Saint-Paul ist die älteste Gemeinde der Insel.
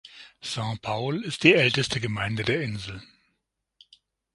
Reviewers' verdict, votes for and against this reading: accepted, 6, 0